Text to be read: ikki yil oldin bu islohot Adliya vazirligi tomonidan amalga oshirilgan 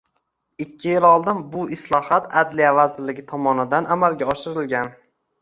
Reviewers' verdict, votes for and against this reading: accepted, 2, 0